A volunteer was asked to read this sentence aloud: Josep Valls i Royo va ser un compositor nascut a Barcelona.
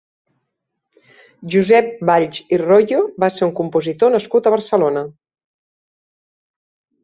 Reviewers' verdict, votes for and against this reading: accepted, 4, 0